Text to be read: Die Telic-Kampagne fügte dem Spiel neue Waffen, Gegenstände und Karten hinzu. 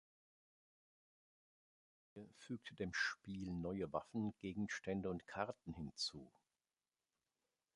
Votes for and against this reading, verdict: 0, 2, rejected